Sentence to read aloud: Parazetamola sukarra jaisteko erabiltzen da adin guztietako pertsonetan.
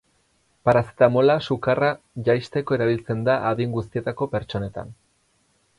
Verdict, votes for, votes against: accepted, 6, 0